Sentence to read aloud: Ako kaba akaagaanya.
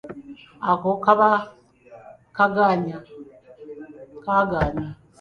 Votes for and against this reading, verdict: 1, 2, rejected